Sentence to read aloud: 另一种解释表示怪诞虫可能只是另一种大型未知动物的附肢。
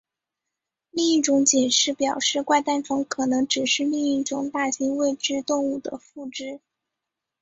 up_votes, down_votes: 3, 0